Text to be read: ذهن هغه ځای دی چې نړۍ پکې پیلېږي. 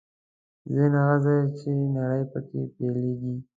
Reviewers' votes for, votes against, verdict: 0, 2, rejected